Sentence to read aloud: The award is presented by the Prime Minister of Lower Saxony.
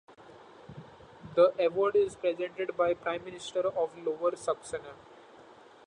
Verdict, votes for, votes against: rejected, 0, 2